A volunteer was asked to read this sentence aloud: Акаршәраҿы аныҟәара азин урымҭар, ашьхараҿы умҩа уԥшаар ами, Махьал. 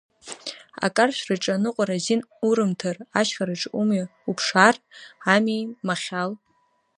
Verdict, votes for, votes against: accepted, 2, 0